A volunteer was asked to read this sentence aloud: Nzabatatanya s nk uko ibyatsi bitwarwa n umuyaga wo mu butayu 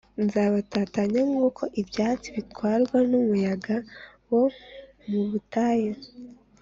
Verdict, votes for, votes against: accepted, 2, 0